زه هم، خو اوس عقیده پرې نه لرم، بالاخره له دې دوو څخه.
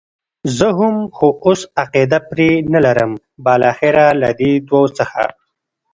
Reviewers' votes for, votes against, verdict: 0, 2, rejected